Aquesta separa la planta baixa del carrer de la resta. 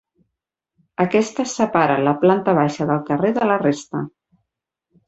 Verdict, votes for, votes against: accepted, 4, 0